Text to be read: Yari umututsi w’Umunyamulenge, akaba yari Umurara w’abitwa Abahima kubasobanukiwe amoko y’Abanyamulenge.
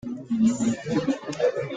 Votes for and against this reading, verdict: 0, 2, rejected